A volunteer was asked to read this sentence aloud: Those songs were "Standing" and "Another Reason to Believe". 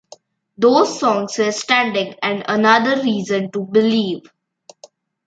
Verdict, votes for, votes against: rejected, 1, 2